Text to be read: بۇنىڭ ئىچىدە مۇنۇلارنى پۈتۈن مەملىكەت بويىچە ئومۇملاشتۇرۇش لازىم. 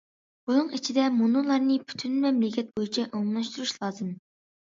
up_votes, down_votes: 2, 0